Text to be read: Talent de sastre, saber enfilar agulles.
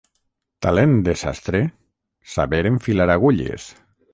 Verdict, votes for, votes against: accepted, 6, 0